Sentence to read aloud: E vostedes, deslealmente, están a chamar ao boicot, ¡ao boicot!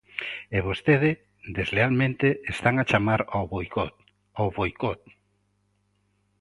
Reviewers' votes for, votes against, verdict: 0, 2, rejected